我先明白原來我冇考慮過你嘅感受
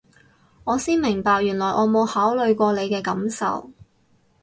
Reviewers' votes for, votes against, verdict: 4, 0, accepted